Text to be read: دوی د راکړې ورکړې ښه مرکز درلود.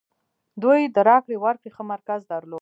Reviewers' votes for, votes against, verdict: 1, 2, rejected